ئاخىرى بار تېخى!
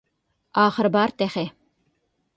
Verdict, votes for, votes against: accepted, 2, 0